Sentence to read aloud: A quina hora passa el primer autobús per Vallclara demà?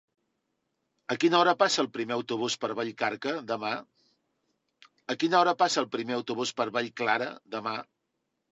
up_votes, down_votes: 2, 3